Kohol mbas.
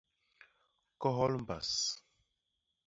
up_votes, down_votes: 2, 0